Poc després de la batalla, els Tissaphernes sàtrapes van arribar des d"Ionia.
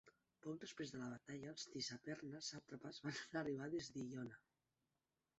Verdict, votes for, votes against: rejected, 0, 3